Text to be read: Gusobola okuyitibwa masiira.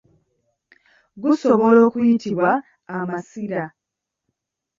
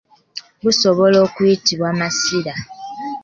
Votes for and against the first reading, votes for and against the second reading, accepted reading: 0, 2, 3, 0, second